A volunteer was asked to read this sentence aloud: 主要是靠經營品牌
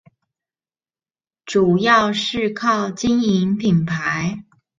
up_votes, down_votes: 2, 0